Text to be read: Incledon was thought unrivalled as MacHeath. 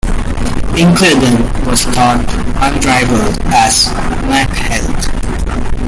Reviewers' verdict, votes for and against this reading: rejected, 1, 2